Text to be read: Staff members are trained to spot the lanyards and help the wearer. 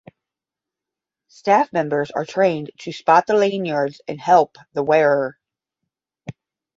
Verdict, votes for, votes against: accepted, 10, 0